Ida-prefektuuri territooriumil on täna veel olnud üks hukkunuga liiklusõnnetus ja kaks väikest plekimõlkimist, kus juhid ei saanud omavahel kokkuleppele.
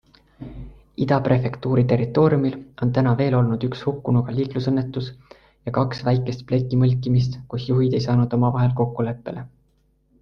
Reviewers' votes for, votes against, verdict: 2, 0, accepted